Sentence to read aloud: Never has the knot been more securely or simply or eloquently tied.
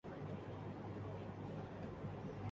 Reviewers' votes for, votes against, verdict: 0, 2, rejected